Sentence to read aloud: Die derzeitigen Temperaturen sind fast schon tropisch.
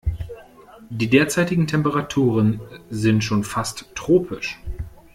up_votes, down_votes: 0, 2